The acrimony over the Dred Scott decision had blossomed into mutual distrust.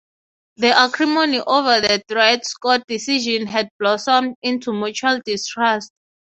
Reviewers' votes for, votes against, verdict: 6, 0, accepted